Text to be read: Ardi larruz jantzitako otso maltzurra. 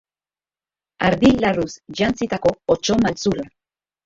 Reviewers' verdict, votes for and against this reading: rejected, 1, 2